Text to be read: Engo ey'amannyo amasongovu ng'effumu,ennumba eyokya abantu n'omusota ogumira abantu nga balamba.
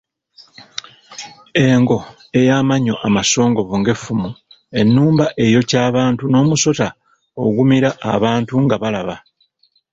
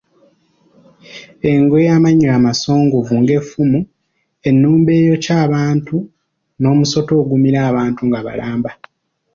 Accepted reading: second